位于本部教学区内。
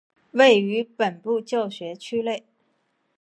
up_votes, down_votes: 2, 0